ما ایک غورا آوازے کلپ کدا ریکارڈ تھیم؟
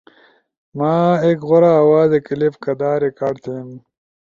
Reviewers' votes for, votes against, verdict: 2, 0, accepted